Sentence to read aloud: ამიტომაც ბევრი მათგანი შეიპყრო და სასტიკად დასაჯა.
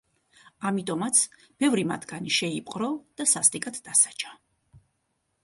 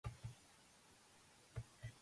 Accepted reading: first